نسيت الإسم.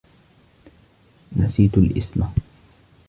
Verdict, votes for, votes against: accepted, 2, 1